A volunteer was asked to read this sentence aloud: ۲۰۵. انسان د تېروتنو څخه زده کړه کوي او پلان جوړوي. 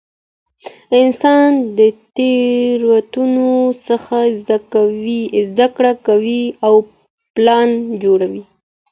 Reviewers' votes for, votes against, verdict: 0, 2, rejected